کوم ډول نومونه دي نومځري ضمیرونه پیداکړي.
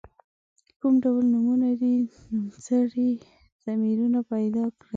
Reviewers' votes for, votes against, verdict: 0, 2, rejected